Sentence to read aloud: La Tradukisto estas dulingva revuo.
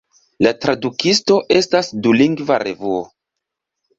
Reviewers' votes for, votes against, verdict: 2, 0, accepted